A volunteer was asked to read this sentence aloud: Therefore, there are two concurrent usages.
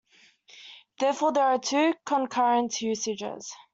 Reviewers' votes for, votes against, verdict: 2, 0, accepted